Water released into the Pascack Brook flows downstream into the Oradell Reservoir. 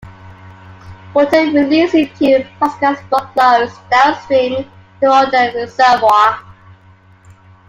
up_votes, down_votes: 1, 2